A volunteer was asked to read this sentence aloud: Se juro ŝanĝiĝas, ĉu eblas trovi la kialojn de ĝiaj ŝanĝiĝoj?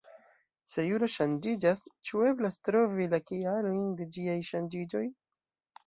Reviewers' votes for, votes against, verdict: 3, 0, accepted